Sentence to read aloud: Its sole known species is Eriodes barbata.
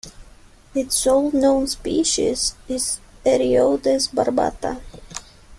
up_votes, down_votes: 2, 0